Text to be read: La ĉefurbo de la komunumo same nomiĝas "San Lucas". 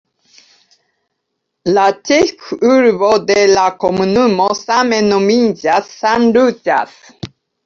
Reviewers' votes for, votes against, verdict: 2, 0, accepted